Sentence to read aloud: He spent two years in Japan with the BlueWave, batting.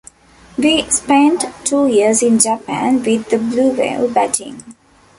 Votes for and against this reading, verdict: 0, 2, rejected